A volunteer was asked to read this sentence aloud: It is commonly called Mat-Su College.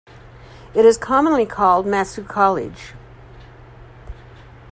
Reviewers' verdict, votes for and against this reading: accepted, 2, 1